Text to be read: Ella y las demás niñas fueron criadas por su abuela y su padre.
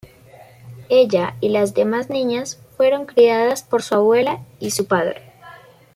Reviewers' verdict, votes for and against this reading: accepted, 2, 0